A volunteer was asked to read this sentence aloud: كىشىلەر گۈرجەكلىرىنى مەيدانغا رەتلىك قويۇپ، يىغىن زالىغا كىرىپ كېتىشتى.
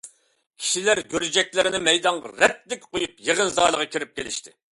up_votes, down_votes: 0, 2